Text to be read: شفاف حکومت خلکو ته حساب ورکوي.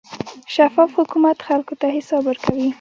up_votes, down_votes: 1, 2